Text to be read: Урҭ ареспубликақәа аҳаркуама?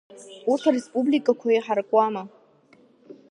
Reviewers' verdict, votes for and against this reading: rejected, 0, 2